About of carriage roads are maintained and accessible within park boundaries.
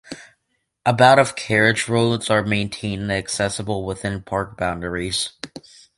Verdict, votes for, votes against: accepted, 2, 0